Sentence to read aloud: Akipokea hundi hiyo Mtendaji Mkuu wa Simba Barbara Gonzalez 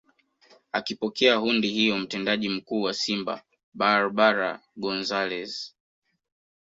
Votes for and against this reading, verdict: 1, 2, rejected